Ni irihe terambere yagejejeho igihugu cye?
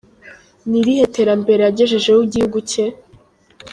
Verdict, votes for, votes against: accepted, 2, 1